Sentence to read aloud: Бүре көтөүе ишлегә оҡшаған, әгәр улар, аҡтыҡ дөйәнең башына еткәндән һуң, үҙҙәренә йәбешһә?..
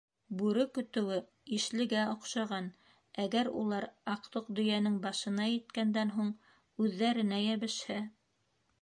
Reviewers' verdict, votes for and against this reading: accepted, 2, 0